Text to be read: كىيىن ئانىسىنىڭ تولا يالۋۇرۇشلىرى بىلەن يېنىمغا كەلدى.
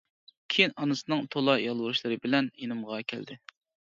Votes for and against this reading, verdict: 2, 0, accepted